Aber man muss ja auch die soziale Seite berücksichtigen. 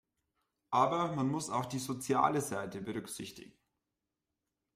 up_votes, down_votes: 1, 2